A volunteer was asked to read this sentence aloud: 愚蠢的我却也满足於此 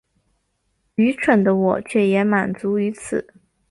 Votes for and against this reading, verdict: 3, 0, accepted